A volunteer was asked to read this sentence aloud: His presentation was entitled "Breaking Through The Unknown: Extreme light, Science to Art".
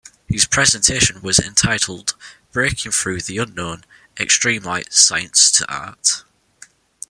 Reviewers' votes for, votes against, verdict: 2, 0, accepted